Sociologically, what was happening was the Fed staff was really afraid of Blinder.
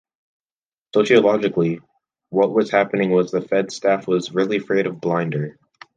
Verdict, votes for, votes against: accepted, 2, 1